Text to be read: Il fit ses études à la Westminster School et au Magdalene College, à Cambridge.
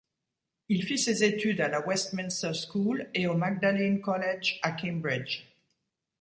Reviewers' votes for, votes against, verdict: 2, 0, accepted